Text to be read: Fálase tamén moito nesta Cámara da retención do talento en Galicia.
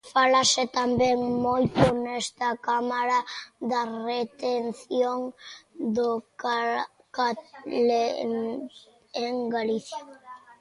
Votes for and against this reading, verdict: 0, 2, rejected